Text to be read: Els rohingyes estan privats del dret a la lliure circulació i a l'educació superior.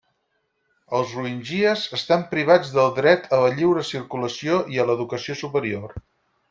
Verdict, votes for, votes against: rejected, 0, 4